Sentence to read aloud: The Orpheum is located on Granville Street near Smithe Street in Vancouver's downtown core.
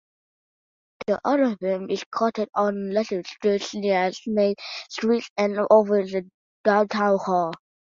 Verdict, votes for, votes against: rejected, 0, 2